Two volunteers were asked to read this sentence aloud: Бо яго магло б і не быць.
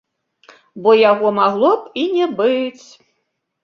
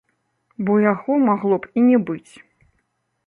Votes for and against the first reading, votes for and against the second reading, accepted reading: 1, 2, 2, 0, second